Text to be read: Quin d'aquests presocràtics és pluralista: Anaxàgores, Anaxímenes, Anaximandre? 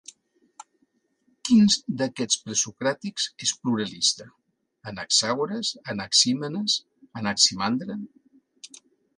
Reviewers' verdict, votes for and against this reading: rejected, 0, 2